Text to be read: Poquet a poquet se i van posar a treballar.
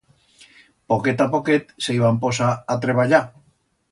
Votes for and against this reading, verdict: 2, 0, accepted